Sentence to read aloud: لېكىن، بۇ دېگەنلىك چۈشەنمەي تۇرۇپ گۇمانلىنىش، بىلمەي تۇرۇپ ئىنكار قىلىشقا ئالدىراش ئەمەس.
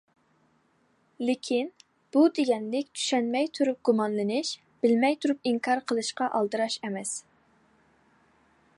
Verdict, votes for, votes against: accepted, 2, 0